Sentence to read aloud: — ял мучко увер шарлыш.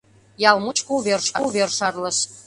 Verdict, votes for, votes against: rejected, 0, 2